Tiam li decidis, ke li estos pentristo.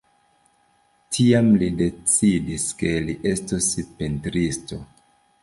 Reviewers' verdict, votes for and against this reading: accepted, 2, 0